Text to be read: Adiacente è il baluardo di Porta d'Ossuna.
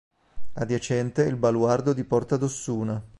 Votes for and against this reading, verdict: 3, 0, accepted